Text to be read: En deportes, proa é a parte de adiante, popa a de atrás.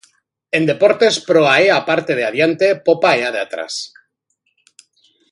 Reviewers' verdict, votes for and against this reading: rejected, 1, 2